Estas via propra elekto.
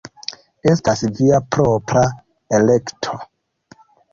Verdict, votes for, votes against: accepted, 2, 0